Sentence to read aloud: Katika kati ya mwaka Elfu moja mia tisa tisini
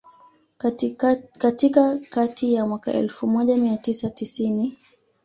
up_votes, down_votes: 0, 2